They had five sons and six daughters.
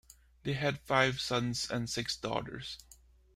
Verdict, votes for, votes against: accepted, 2, 0